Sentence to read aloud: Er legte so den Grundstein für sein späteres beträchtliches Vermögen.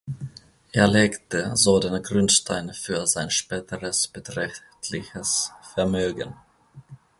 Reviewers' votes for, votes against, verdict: 1, 2, rejected